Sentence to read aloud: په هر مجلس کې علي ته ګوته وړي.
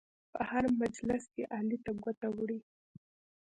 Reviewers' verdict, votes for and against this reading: rejected, 1, 2